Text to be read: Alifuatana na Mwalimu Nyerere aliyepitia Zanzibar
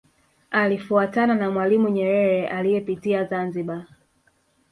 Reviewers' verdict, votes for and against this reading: accepted, 3, 2